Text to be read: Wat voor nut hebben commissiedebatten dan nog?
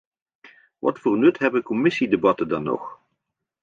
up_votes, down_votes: 2, 0